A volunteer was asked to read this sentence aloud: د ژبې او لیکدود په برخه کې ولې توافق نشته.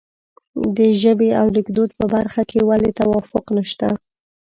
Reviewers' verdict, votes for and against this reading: accepted, 2, 0